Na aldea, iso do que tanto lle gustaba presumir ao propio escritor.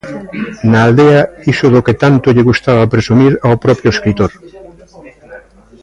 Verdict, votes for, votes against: rejected, 0, 2